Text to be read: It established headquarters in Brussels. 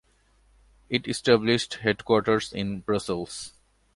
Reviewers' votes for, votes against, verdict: 2, 0, accepted